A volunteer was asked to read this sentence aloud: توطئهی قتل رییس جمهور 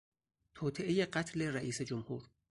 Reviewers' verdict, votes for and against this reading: accepted, 4, 0